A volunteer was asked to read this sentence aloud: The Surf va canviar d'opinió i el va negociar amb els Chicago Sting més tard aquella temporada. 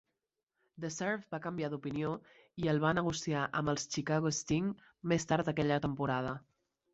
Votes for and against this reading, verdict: 4, 0, accepted